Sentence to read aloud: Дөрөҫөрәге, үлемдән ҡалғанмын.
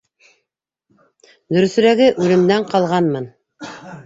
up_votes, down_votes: 2, 1